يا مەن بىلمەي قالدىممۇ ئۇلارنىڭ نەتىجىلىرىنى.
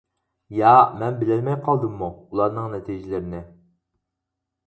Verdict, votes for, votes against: rejected, 0, 4